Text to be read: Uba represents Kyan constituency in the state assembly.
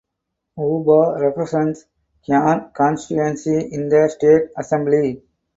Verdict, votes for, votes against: rejected, 2, 4